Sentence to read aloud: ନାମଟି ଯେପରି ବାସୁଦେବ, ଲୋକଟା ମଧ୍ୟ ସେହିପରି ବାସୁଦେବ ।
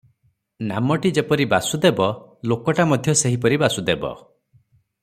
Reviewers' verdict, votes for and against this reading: accepted, 3, 0